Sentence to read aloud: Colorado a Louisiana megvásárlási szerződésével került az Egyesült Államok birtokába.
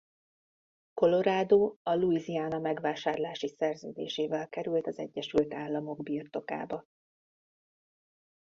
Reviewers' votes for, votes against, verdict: 1, 2, rejected